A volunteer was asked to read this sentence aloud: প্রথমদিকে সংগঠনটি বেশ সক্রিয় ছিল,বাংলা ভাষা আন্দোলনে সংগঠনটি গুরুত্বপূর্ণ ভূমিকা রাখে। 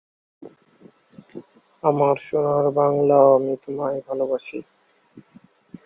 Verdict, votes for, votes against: rejected, 0, 14